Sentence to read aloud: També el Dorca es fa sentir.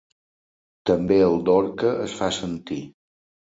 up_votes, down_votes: 2, 0